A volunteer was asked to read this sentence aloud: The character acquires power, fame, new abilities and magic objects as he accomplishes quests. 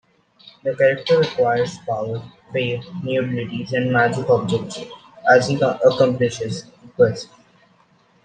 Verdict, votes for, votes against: rejected, 1, 2